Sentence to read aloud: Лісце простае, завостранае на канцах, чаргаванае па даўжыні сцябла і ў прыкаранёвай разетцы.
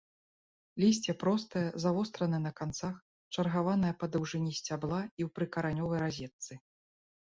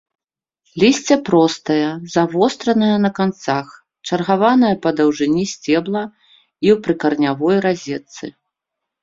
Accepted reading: first